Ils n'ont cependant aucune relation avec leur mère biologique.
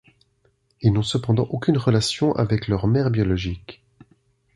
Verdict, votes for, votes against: accepted, 2, 0